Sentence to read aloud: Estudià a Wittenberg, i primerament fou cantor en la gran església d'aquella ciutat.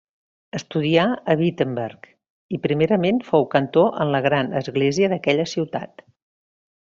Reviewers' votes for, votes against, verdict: 2, 0, accepted